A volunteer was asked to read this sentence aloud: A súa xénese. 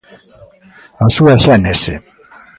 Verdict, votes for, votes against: rejected, 1, 2